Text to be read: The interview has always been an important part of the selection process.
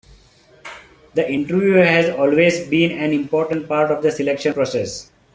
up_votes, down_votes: 2, 1